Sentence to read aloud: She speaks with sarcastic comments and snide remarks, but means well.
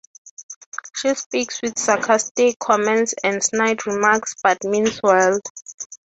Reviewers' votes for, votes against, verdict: 6, 0, accepted